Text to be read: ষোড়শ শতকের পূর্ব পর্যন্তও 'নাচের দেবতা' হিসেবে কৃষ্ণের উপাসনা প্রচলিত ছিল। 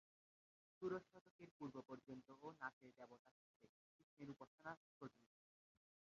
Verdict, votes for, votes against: rejected, 0, 2